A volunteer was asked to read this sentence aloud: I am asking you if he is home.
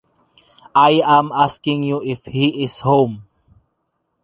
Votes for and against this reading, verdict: 2, 0, accepted